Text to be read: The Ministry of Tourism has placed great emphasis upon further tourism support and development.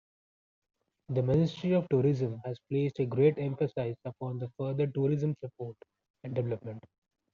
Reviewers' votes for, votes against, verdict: 0, 2, rejected